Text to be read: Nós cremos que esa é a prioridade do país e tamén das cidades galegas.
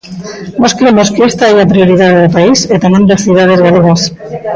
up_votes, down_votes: 0, 2